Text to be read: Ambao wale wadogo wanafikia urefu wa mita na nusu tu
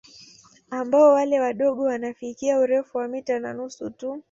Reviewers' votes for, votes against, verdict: 2, 0, accepted